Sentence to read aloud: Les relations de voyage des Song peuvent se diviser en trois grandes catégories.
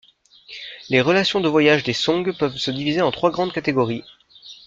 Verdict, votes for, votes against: accepted, 3, 0